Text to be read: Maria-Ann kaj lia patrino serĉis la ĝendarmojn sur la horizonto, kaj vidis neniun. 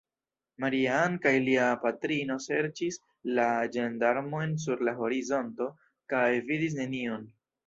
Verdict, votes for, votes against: rejected, 1, 2